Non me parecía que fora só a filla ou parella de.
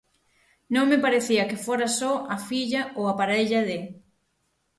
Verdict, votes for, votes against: rejected, 0, 6